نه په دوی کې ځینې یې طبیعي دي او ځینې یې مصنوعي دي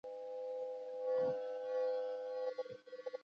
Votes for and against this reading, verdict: 1, 2, rejected